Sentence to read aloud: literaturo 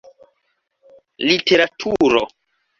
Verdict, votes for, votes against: accepted, 2, 0